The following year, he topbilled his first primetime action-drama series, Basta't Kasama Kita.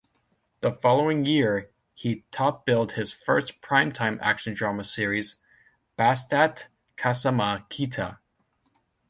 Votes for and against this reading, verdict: 2, 0, accepted